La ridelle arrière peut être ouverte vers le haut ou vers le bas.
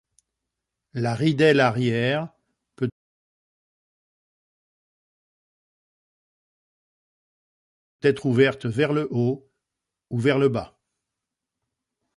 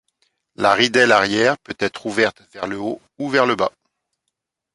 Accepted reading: second